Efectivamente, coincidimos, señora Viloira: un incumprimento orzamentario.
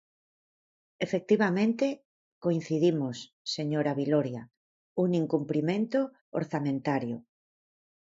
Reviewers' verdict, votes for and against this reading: rejected, 2, 4